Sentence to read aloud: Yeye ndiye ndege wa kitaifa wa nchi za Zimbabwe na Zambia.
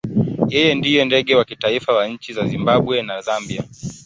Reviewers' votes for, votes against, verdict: 3, 0, accepted